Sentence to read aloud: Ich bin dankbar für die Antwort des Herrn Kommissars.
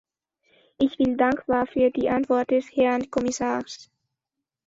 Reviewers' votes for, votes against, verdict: 2, 0, accepted